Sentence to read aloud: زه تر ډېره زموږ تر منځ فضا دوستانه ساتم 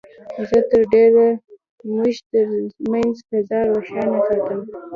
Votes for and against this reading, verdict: 1, 2, rejected